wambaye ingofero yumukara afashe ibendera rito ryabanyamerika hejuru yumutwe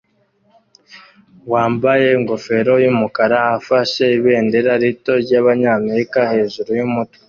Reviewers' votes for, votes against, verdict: 2, 0, accepted